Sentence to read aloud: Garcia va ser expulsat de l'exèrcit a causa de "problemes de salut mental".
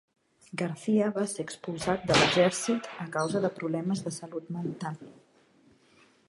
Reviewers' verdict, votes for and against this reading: accepted, 2, 1